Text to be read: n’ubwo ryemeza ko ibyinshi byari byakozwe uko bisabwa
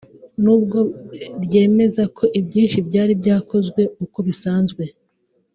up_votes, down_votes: 1, 2